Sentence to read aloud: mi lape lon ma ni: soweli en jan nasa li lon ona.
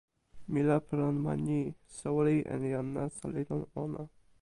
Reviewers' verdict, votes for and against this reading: accepted, 2, 0